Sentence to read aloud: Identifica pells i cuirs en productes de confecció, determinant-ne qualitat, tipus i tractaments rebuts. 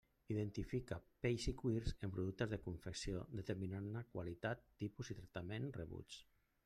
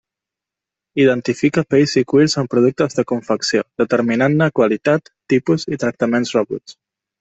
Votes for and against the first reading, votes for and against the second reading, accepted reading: 1, 2, 2, 0, second